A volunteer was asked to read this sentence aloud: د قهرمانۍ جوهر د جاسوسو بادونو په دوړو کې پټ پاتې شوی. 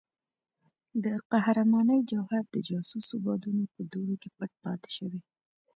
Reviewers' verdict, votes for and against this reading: accepted, 2, 1